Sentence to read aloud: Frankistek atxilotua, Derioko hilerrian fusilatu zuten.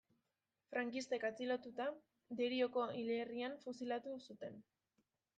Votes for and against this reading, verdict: 0, 2, rejected